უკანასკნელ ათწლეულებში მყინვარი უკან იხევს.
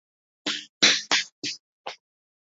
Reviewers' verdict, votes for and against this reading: rejected, 0, 2